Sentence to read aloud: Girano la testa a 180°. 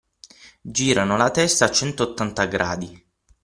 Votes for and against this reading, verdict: 0, 2, rejected